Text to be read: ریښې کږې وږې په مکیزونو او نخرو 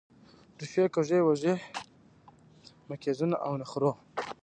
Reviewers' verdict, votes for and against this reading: rejected, 0, 2